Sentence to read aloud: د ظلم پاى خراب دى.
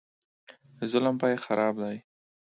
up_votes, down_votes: 2, 0